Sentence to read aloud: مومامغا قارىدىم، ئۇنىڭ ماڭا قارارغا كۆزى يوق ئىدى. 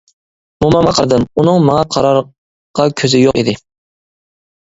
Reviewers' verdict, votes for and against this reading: rejected, 1, 2